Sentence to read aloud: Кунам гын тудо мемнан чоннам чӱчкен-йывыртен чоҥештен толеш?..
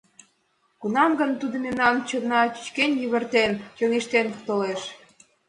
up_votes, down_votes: 2, 1